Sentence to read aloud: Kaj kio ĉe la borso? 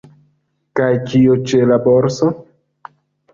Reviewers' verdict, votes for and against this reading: rejected, 0, 2